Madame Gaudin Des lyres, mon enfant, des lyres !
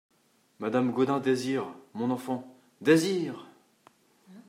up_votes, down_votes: 0, 2